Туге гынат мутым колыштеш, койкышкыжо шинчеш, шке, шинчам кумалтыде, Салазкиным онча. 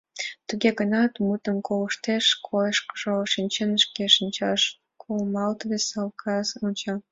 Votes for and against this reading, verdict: 1, 2, rejected